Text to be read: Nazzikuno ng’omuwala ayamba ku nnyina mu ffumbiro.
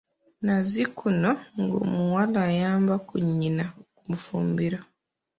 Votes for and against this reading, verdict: 0, 2, rejected